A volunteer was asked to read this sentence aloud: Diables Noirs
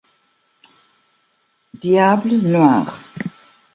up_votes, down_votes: 2, 1